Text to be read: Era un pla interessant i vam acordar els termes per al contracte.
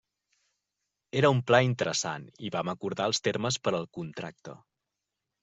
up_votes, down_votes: 3, 0